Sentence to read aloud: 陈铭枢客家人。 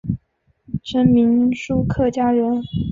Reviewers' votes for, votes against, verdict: 3, 0, accepted